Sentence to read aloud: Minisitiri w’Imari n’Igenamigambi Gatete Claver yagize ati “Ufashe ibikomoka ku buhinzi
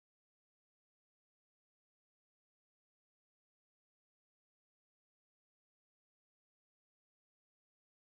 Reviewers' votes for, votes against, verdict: 0, 2, rejected